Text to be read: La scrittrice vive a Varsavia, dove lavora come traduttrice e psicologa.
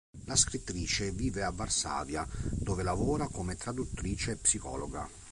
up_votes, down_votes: 2, 0